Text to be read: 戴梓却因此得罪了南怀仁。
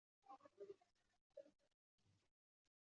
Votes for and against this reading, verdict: 0, 3, rejected